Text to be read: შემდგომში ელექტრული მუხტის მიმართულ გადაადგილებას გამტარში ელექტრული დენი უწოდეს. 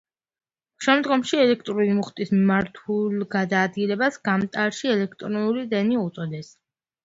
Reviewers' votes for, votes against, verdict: 2, 1, accepted